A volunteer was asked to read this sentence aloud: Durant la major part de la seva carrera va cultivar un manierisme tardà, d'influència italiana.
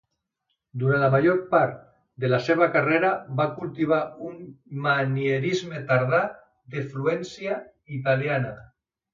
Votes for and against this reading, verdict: 0, 2, rejected